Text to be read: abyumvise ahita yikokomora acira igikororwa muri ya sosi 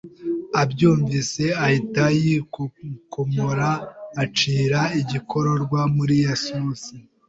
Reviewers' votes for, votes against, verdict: 2, 1, accepted